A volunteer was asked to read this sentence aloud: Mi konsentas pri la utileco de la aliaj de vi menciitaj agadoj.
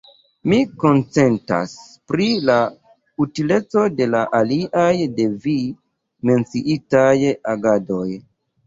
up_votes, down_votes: 1, 2